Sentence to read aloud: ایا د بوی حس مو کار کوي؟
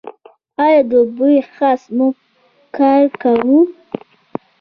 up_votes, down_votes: 2, 0